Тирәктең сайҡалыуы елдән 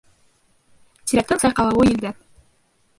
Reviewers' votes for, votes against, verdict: 0, 3, rejected